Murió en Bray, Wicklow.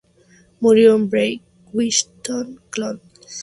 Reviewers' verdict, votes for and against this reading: rejected, 0, 2